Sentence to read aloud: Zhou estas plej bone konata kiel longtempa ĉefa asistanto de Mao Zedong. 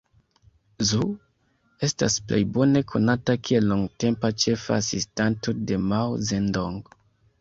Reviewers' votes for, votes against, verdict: 0, 2, rejected